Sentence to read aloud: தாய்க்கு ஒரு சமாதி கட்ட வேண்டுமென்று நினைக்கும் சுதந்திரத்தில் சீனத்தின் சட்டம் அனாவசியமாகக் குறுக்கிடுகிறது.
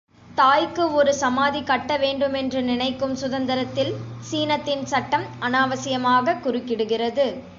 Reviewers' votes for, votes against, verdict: 2, 0, accepted